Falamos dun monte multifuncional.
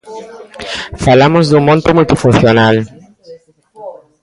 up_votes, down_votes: 1, 2